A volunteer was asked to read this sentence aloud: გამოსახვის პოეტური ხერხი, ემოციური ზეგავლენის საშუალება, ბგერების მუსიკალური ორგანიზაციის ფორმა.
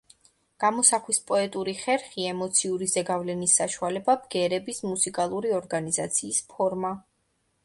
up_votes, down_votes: 2, 0